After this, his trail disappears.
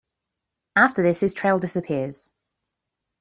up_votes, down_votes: 2, 0